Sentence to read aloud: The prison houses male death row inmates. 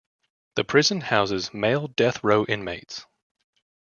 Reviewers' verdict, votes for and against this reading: accepted, 2, 0